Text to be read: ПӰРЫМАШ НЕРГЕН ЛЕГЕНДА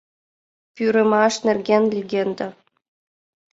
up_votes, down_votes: 2, 0